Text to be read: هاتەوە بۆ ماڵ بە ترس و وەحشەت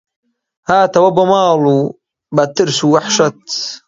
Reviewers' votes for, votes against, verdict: 1, 2, rejected